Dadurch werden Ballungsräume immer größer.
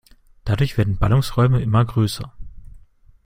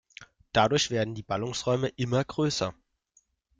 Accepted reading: first